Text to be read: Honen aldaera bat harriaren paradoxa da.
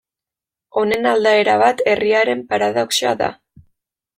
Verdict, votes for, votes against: rejected, 1, 2